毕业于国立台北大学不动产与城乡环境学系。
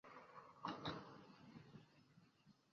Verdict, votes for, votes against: rejected, 1, 2